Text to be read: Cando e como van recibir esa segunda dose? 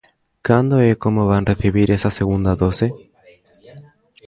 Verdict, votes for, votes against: rejected, 1, 2